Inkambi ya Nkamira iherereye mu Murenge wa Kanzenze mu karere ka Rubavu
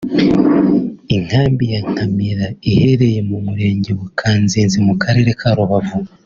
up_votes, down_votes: 3, 0